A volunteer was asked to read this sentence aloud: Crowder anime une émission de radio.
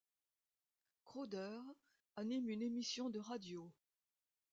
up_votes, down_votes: 2, 0